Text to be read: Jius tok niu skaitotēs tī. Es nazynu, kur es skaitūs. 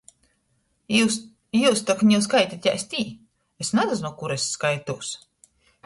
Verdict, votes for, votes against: rejected, 0, 2